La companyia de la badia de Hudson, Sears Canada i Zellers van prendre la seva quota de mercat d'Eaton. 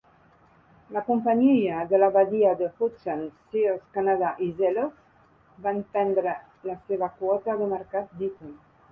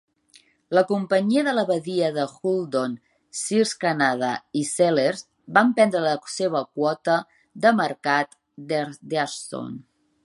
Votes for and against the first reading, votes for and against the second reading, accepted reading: 3, 1, 1, 2, first